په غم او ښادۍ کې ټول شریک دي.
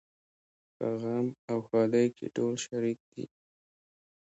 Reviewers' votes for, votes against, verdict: 2, 0, accepted